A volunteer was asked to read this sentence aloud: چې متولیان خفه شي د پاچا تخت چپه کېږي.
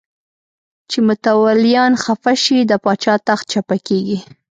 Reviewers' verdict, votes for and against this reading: accepted, 2, 0